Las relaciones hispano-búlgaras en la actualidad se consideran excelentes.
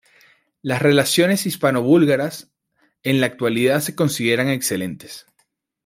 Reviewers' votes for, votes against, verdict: 2, 0, accepted